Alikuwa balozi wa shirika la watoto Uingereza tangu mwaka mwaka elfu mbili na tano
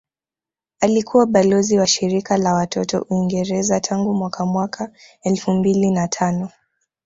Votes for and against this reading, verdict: 2, 0, accepted